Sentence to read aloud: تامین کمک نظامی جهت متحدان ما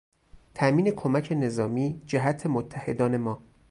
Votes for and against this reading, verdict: 2, 2, rejected